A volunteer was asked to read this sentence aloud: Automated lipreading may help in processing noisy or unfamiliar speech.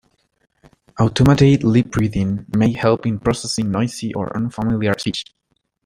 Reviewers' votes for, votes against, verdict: 1, 2, rejected